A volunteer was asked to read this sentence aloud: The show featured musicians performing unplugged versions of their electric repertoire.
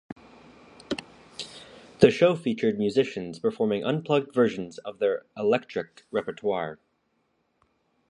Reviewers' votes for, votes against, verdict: 2, 0, accepted